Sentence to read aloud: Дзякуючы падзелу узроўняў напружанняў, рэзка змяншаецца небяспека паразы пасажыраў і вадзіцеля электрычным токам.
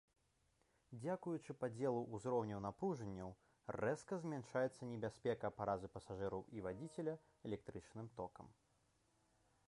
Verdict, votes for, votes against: rejected, 0, 2